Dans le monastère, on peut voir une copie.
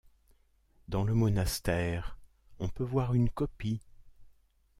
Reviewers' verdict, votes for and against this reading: accepted, 2, 0